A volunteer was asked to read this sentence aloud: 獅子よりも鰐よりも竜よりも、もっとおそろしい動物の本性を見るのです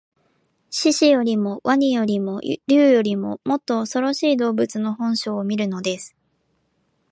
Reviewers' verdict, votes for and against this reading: accepted, 2, 0